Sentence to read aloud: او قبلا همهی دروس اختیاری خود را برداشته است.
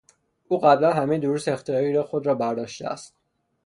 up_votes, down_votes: 0, 3